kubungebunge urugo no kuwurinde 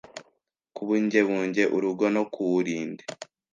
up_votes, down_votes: 1, 2